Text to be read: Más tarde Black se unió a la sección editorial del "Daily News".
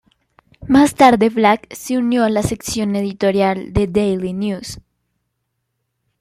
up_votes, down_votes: 2, 0